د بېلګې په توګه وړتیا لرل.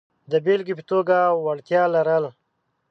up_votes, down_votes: 2, 0